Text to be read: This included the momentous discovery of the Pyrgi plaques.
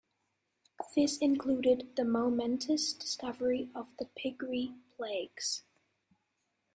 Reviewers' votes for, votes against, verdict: 1, 2, rejected